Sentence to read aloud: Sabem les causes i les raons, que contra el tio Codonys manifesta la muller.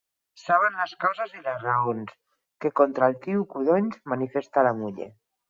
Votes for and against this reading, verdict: 2, 4, rejected